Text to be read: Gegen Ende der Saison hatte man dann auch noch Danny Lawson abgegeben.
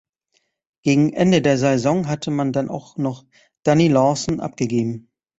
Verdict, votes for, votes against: accepted, 2, 1